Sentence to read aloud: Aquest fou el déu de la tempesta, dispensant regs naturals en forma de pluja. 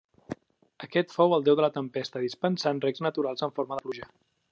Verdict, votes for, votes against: rejected, 1, 2